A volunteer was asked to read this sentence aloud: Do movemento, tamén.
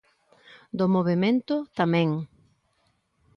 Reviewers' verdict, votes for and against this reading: accepted, 2, 0